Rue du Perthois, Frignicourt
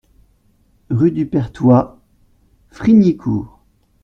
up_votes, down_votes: 2, 0